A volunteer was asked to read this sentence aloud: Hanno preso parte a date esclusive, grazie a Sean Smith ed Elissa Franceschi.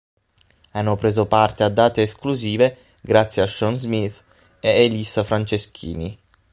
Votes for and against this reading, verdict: 3, 6, rejected